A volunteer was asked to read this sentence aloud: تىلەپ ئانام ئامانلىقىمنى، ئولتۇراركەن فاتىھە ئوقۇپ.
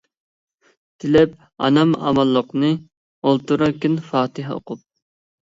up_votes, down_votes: 0, 2